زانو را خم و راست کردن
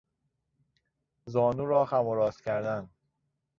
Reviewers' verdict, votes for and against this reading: accepted, 2, 0